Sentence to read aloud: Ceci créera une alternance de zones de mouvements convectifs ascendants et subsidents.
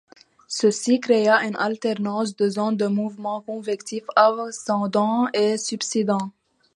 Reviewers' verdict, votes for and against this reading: rejected, 0, 2